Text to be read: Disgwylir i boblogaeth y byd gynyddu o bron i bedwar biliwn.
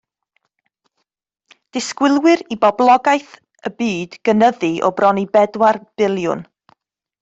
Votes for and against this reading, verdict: 1, 2, rejected